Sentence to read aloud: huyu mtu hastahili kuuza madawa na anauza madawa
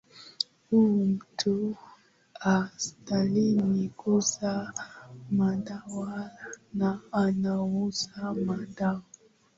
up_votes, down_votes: 3, 2